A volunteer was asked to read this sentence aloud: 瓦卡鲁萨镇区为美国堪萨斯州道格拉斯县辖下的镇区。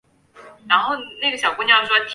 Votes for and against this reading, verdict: 0, 3, rejected